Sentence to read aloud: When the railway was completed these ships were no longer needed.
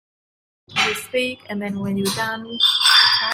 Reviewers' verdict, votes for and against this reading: rejected, 0, 2